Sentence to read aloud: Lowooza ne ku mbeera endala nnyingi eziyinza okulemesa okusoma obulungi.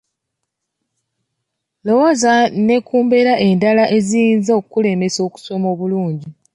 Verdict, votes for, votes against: rejected, 0, 2